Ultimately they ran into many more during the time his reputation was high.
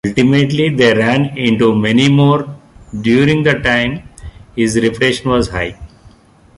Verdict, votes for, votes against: accepted, 2, 0